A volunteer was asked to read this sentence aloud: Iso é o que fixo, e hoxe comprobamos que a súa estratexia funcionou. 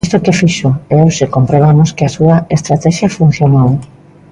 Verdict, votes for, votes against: rejected, 1, 2